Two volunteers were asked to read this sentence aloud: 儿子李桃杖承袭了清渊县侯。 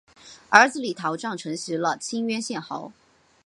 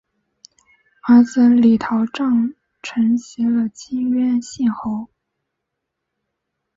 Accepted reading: first